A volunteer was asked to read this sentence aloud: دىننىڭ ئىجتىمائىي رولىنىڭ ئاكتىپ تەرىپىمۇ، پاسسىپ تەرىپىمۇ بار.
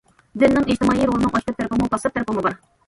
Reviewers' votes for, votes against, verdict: 1, 2, rejected